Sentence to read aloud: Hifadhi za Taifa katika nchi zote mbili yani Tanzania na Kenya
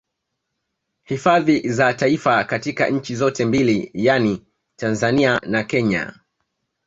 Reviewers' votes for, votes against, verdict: 2, 1, accepted